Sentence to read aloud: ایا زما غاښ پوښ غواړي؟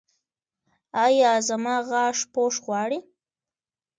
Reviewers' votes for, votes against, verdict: 2, 1, accepted